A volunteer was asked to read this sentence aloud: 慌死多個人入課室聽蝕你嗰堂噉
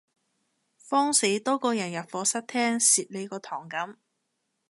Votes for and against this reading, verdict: 2, 0, accepted